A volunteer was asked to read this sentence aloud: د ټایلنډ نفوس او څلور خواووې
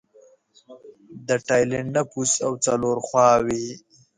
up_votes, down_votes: 2, 0